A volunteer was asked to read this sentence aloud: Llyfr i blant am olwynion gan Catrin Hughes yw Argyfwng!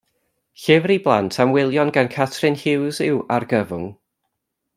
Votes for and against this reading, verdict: 1, 2, rejected